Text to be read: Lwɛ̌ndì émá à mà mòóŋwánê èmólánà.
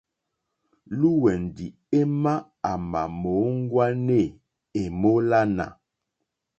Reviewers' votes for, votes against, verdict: 2, 0, accepted